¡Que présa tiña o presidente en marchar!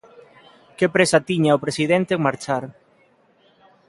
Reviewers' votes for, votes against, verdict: 2, 0, accepted